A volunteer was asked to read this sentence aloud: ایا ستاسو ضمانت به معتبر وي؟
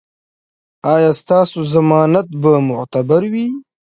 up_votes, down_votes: 2, 1